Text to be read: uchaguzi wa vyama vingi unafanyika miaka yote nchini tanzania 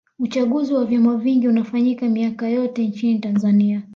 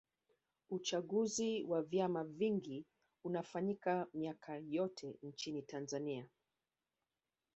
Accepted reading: first